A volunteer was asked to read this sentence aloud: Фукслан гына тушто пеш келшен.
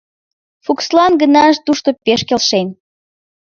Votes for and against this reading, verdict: 2, 0, accepted